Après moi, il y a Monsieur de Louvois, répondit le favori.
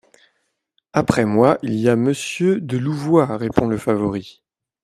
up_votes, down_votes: 0, 2